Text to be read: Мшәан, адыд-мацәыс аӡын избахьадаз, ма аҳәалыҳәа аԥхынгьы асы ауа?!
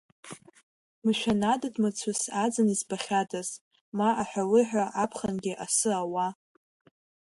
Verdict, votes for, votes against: accepted, 2, 0